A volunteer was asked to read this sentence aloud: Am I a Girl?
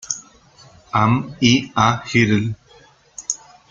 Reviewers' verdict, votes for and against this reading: rejected, 0, 2